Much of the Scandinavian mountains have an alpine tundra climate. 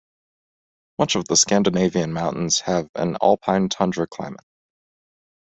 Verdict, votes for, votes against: accepted, 2, 0